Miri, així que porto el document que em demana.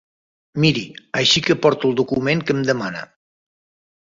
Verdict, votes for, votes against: accepted, 3, 0